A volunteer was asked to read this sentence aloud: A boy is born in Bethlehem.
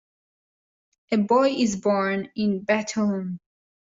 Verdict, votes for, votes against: rejected, 1, 2